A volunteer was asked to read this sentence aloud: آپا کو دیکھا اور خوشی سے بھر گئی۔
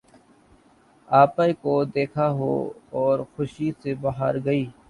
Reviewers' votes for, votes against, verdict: 2, 3, rejected